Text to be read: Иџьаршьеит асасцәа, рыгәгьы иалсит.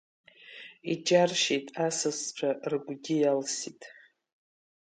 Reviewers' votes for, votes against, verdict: 3, 0, accepted